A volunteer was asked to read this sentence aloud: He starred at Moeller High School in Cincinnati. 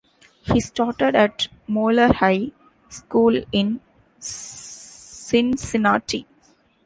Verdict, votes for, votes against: rejected, 1, 2